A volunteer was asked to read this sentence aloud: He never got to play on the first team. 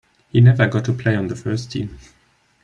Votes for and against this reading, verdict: 0, 2, rejected